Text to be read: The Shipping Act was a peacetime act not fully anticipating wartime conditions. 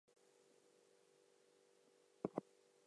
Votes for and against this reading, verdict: 0, 4, rejected